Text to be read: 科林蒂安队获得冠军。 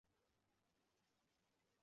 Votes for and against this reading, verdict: 0, 2, rejected